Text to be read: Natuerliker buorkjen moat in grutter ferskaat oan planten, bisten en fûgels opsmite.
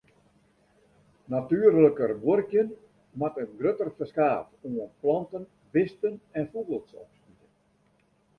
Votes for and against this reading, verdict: 0, 2, rejected